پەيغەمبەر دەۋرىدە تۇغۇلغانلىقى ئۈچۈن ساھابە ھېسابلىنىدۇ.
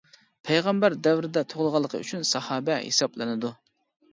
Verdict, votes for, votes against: accepted, 2, 0